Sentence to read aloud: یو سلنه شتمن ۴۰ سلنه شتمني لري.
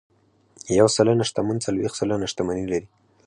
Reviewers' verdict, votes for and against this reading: rejected, 0, 2